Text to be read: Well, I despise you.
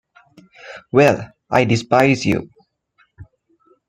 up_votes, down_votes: 1, 2